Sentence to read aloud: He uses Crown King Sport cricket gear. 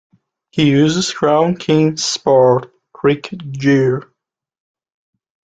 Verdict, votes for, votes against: accepted, 2, 1